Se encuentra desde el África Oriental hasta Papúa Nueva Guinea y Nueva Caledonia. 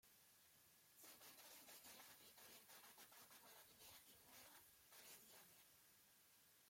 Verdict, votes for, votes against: rejected, 0, 2